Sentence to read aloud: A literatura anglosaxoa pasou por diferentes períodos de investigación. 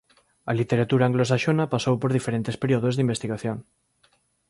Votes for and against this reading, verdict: 0, 2, rejected